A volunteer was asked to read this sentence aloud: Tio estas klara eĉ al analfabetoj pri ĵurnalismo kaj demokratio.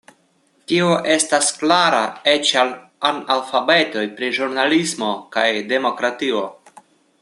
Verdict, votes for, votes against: accepted, 2, 0